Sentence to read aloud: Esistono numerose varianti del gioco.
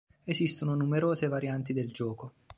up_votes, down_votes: 2, 0